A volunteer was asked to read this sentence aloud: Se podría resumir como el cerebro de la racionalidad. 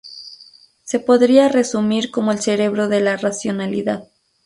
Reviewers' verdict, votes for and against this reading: accepted, 4, 0